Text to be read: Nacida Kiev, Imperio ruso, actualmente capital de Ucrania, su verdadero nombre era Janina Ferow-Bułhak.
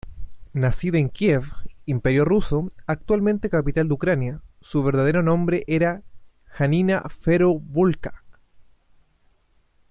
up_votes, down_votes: 0, 2